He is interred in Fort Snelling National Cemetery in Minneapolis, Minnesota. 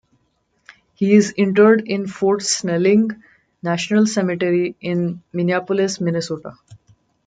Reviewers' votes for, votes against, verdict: 2, 0, accepted